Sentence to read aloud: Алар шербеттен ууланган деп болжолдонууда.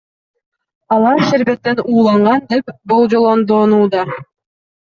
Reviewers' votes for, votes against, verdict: 1, 2, rejected